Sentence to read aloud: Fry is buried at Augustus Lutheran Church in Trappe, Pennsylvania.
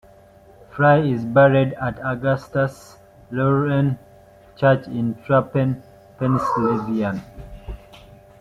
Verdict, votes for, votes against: rejected, 0, 2